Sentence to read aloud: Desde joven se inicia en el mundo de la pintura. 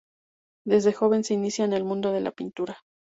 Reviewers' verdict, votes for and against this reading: accepted, 2, 0